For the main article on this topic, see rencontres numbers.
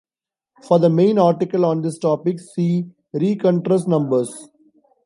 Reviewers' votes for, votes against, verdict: 2, 0, accepted